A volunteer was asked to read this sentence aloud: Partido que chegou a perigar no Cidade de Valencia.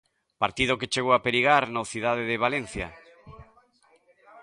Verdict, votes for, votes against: accepted, 2, 1